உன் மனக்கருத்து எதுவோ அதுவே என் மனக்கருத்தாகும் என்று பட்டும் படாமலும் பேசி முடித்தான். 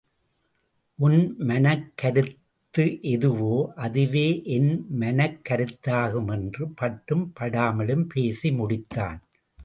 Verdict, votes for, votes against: accepted, 2, 0